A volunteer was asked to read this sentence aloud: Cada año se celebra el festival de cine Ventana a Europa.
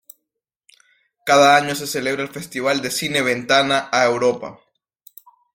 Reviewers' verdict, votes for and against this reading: accepted, 2, 0